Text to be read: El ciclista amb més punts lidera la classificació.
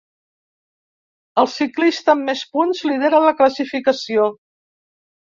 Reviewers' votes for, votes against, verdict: 1, 2, rejected